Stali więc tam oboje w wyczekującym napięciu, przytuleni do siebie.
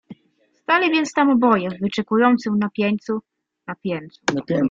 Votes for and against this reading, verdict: 0, 2, rejected